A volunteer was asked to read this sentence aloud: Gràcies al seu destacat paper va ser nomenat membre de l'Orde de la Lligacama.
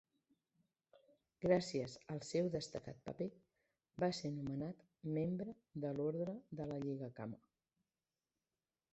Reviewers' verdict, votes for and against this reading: rejected, 0, 2